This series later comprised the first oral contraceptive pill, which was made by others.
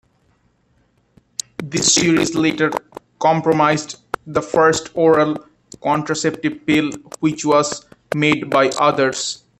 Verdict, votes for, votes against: rejected, 0, 2